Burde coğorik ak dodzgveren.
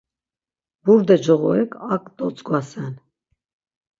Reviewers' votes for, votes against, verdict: 3, 6, rejected